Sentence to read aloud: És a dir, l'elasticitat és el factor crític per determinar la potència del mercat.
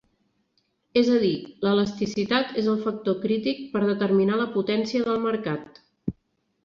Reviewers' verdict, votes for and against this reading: accepted, 3, 0